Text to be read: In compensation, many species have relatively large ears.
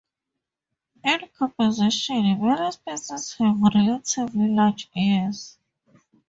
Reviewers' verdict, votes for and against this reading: rejected, 0, 2